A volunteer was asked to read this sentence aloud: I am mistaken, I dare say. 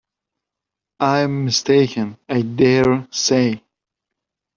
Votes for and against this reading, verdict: 0, 2, rejected